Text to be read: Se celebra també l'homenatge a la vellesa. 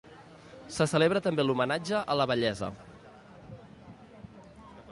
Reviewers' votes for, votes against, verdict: 2, 0, accepted